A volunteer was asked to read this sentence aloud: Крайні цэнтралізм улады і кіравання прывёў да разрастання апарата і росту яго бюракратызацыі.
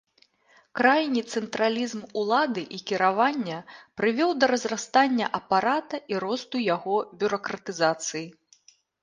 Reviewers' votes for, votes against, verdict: 3, 0, accepted